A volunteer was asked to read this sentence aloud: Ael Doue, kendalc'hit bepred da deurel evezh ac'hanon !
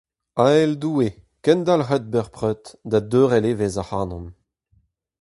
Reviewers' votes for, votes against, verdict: 2, 2, rejected